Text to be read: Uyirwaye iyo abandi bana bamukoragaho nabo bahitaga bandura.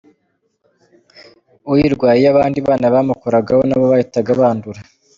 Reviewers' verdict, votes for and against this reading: accepted, 2, 0